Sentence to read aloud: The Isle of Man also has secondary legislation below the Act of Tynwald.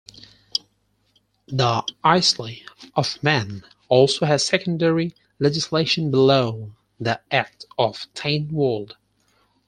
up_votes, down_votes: 2, 4